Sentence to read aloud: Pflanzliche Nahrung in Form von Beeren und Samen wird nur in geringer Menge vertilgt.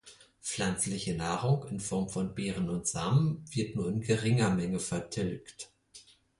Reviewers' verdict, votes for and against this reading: accepted, 4, 0